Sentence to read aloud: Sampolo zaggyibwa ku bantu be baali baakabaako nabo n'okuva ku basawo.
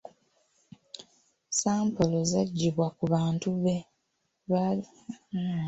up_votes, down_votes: 1, 2